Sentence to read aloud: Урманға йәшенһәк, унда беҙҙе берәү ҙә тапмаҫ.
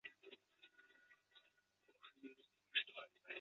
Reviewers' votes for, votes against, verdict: 0, 2, rejected